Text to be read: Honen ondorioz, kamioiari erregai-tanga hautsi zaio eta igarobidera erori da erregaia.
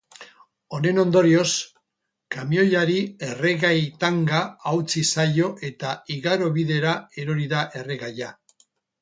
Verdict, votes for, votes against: accepted, 4, 0